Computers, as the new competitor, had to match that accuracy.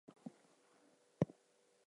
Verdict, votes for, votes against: rejected, 0, 2